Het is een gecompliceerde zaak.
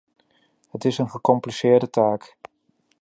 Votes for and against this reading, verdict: 0, 2, rejected